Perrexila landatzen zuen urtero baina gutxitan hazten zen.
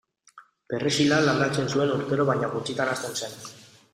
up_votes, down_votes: 4, 0